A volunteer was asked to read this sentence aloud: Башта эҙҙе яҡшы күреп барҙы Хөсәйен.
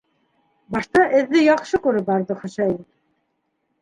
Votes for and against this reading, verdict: 2, 0, accepted